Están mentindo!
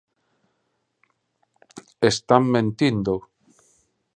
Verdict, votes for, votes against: accepted, 2, 0